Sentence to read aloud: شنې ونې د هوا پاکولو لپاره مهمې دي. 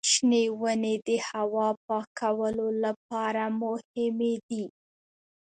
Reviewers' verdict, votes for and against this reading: rejected, 0, 2